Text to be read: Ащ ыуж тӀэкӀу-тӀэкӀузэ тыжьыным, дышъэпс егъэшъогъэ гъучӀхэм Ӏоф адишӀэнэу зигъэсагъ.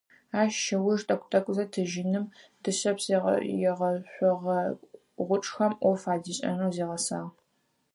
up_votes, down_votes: 2, 4